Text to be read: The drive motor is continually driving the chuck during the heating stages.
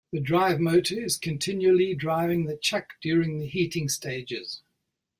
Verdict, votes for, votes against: accepted, 2, 0